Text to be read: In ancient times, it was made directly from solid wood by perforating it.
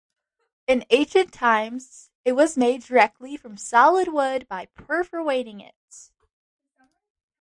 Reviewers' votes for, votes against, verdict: 0, 2, rejected